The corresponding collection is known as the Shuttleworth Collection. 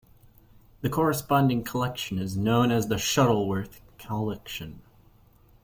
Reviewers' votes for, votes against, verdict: 2, 0, accepted